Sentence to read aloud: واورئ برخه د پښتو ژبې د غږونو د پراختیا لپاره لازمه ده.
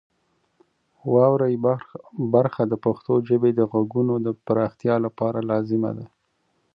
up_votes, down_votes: 0, 2